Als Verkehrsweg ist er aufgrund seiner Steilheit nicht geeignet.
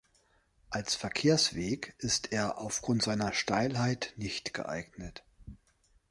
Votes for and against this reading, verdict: 2, 0, accepted